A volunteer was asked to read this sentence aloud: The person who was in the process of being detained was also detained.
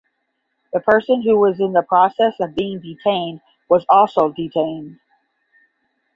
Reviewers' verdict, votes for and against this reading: accepted, 10, 0